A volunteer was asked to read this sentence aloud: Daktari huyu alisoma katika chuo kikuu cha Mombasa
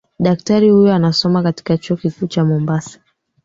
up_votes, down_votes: 1, 2